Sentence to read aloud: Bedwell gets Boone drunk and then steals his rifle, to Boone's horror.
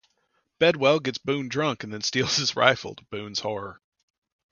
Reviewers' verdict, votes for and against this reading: rejected, 0, 2